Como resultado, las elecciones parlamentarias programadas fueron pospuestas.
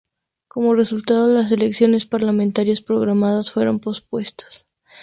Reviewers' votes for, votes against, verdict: 2, 0, accepted